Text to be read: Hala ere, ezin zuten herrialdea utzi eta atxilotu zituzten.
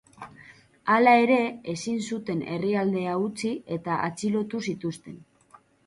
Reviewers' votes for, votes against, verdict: 4, 0, accepted